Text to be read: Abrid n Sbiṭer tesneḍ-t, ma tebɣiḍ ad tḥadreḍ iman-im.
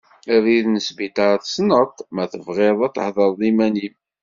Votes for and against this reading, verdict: 1, 3, rejected